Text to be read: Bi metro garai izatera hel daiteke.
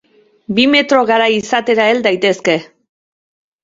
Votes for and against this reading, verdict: 0, 2, rejected